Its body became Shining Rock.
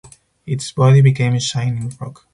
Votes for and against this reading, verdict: 0, 2, rejected